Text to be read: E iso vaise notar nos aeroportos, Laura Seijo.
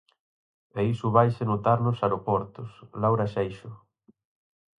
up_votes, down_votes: 0, 4